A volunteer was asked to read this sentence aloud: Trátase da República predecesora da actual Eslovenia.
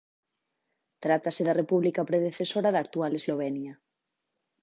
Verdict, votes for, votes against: accepted, 2, 0